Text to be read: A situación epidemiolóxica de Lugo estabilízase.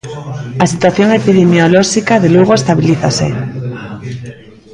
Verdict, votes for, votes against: accepted, 2, 0